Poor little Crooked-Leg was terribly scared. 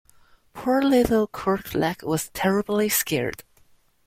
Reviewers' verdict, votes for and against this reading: accepted, 2, 1